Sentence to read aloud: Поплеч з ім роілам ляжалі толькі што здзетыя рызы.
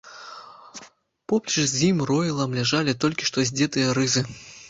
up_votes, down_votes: 1, 2